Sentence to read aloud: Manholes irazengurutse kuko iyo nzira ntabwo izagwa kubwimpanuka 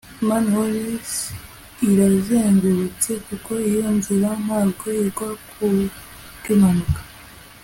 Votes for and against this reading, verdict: 2, 0, accepted